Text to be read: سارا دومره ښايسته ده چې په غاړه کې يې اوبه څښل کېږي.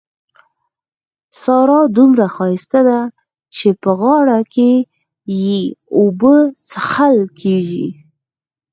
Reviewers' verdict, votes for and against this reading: accepted, 4, 0